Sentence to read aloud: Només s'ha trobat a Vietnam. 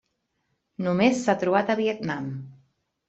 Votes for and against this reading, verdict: 3, 1, accepted